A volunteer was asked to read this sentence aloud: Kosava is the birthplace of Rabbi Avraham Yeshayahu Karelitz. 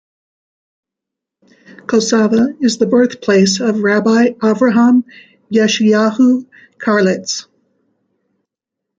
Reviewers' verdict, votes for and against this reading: accepted, 2, 1